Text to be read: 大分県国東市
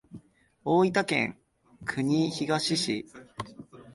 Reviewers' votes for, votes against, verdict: 3, 1, accepted